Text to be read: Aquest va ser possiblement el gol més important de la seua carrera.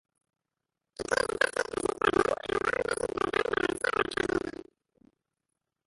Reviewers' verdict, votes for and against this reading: accepted, 2, 1